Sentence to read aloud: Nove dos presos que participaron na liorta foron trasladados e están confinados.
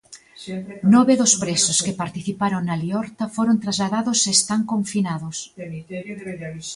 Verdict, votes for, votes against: rejected, 0, 2